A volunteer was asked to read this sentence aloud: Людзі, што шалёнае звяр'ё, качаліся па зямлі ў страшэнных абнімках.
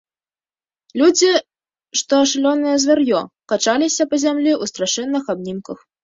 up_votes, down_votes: 2, 0